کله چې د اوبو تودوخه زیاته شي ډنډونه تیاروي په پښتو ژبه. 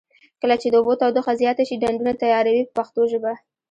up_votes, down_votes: 0, 2